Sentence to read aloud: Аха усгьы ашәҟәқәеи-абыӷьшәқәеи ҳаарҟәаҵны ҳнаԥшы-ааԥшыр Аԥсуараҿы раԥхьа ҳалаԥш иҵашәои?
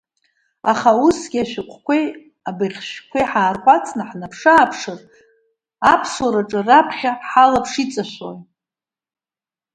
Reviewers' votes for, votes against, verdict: 1, 2, rejected